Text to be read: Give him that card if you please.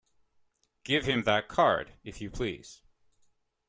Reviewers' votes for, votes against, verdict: 2, 0, accepted